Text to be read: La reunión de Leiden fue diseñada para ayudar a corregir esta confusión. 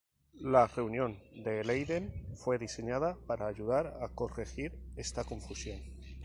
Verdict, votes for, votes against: accepted, 2, 0